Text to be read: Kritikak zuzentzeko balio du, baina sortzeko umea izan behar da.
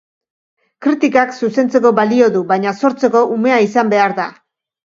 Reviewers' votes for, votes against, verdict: 2, 0, accepted